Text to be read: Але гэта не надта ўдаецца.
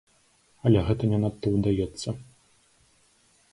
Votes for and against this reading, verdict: 2, 3, rejected